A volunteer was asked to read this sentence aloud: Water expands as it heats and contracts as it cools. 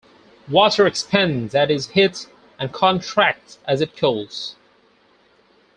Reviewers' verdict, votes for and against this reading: accepted, 4, 2